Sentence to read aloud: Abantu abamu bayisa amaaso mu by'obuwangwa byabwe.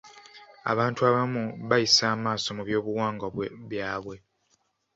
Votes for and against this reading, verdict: 2, 0, accepted